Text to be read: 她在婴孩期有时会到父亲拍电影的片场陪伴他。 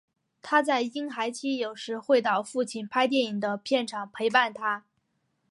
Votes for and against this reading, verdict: 2, 1, accepted